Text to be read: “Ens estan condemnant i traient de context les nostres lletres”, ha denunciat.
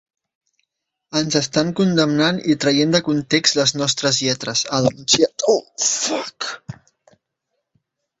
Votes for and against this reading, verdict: 1, 2, rejected